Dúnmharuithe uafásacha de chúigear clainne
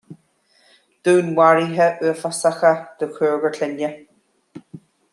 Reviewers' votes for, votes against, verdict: 2, 0, accepted